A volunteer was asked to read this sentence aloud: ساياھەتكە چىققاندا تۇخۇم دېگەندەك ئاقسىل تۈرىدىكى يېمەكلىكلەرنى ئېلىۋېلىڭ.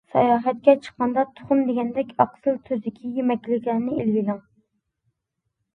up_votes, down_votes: 1, 2